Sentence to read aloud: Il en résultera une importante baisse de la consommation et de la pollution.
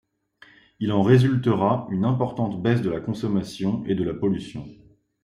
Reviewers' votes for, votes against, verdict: 2, 0, accepted